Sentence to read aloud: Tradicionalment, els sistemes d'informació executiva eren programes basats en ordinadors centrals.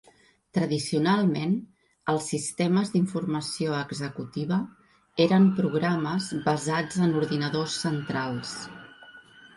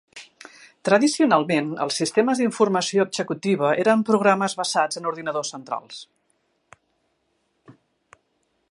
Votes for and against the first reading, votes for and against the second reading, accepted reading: 3, 1, 0, 2, first